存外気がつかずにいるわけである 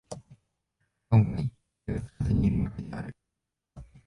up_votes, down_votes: 1, 2